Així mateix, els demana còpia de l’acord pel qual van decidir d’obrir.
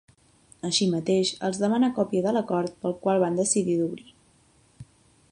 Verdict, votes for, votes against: accepted, 2, 0